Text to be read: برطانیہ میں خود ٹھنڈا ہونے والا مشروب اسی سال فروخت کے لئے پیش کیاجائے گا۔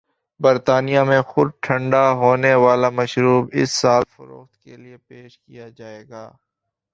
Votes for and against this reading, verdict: 1, 2, rejected